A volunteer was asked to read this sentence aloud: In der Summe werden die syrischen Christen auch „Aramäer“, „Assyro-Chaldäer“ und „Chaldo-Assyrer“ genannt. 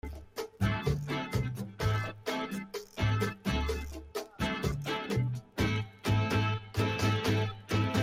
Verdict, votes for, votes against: rejected, 0, 2